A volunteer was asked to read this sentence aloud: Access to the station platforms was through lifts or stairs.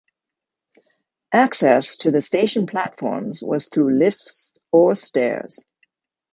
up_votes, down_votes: 2, 0